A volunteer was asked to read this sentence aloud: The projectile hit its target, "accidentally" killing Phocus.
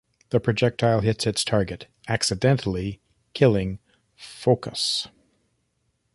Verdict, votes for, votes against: rejected, 0, 2